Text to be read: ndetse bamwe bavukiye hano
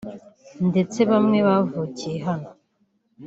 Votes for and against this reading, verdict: 4, 0, accepted